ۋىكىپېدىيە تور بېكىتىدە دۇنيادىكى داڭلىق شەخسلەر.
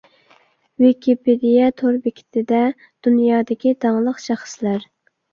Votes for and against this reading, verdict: 2, 0, accepted